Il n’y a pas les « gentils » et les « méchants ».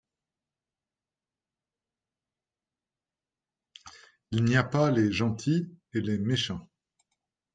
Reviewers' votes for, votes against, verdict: 1, 2, rejected